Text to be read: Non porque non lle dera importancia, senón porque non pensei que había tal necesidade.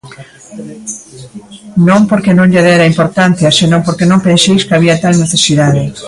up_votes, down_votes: 1, 2